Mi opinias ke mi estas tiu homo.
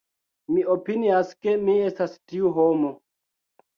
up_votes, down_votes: 1, 2